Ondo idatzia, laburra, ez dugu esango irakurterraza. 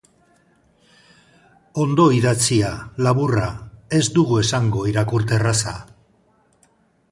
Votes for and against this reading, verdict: 4, 0, accepted